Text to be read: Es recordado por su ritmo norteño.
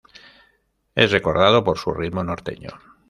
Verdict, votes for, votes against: accepted, 2, 1